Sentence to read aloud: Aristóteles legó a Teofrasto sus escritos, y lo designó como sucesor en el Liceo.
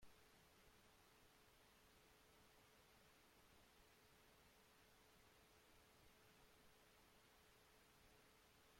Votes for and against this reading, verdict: 0, 2, rejected